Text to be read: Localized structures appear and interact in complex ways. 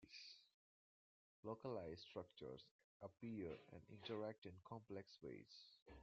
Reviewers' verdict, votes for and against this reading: rejected, 0, 2